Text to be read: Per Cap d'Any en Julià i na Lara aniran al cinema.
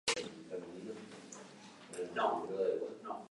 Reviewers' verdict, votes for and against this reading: rejected, 0, 2